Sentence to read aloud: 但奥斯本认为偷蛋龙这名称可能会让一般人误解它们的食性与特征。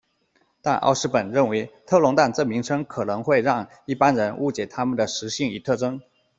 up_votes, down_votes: 2, 0